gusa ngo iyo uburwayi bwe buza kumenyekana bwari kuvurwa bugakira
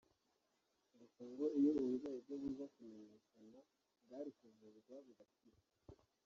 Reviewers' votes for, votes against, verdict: 1, 2, rejected